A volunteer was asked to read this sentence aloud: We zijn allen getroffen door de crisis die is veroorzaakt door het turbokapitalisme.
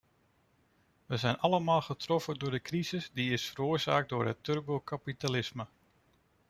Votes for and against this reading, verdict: 0, 2, rejected